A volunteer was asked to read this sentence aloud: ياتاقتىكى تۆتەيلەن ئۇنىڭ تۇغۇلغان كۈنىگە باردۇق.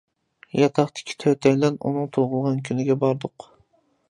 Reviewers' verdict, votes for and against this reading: accepted, 2, 0